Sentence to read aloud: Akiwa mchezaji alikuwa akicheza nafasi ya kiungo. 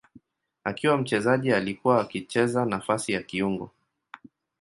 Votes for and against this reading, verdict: 9, 1, accepted